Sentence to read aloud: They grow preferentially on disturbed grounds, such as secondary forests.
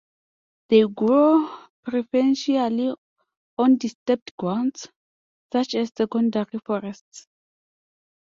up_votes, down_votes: 2, 0